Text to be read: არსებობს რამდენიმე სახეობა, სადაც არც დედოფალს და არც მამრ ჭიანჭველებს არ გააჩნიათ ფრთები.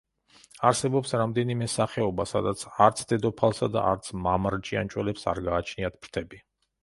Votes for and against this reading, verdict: 2, 0, accepted